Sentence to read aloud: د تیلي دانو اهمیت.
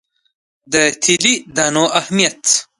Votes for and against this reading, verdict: 1, 2, rejected